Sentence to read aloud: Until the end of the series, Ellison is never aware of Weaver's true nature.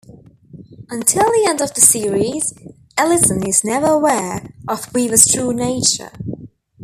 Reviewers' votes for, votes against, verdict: 2, 0, accepted